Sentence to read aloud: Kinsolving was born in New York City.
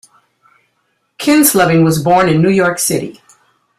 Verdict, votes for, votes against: accepted, 2, 1